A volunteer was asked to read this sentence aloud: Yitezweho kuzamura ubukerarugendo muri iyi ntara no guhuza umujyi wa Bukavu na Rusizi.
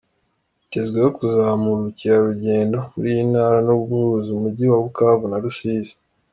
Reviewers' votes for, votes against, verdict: 2, 0, accepted